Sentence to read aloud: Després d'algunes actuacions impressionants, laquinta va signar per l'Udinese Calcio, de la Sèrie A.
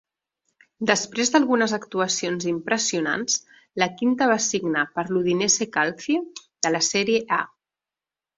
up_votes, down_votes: 0, 2